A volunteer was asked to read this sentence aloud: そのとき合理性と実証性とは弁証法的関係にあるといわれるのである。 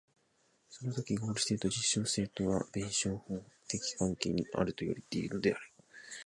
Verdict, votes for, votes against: rejected, 0, 2